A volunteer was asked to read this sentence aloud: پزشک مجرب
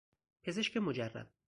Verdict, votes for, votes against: accepted, 4, 0